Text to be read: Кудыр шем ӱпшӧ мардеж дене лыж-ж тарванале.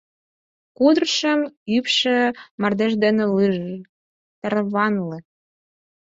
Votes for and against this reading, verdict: 0, 4, rejected